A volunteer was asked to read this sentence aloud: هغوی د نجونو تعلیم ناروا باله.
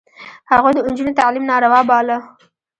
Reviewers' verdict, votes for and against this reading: rejected, 0, 2